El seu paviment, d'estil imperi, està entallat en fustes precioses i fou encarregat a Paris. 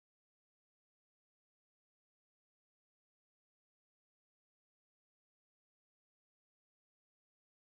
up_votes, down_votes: 0, 2